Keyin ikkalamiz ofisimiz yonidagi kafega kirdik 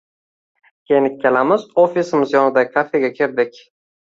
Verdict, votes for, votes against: accepted, 2, 0